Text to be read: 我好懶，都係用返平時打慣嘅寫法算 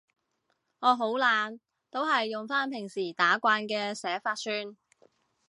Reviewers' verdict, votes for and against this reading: accepted, 2, 0